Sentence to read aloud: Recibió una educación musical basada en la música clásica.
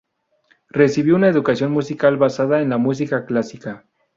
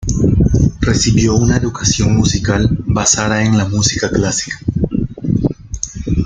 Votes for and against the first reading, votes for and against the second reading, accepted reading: 2, 0, 0, 2, first